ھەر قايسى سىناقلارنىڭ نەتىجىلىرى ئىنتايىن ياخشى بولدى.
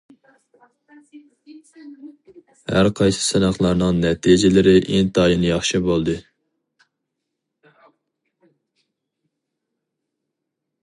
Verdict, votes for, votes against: rejected, 0, 2